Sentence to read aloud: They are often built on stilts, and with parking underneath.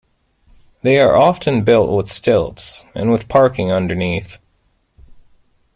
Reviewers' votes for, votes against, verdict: 1, 2, rejected